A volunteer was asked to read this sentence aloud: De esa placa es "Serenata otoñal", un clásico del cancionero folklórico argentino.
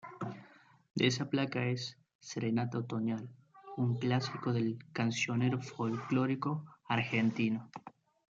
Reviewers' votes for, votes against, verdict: 1, 2, rejected